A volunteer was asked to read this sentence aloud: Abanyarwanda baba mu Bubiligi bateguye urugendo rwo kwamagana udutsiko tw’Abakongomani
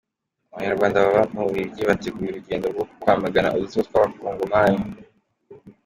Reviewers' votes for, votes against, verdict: 2, 1, accepted